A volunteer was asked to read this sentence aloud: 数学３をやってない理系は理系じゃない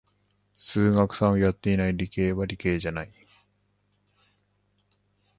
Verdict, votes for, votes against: rejected, 0, 2